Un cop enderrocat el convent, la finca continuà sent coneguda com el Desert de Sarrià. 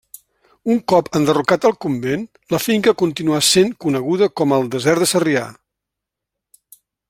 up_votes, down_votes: 1, 2